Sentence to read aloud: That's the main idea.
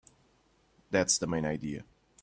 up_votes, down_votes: 2, 0